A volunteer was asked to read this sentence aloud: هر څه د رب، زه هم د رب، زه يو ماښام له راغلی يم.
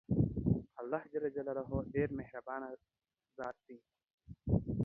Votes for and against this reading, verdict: 0, 2, rejected